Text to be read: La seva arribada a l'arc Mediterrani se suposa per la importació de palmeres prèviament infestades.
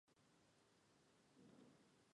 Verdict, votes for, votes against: rejected, 1, 2